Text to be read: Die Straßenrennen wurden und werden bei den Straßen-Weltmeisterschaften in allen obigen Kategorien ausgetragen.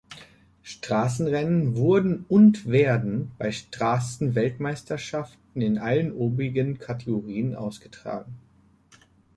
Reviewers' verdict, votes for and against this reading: rejected, 1, 2